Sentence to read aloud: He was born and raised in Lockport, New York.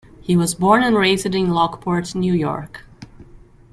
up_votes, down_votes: 1, 2